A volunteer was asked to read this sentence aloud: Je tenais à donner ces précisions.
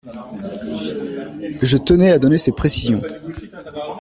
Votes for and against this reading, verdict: 2, 0, accepted